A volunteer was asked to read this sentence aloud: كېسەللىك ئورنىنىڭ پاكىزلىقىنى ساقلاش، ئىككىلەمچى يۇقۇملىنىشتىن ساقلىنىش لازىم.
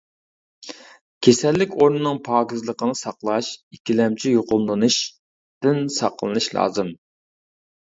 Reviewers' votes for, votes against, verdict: 0, 2, rejected